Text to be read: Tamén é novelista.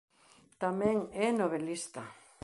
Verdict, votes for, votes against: accepted, 2, 0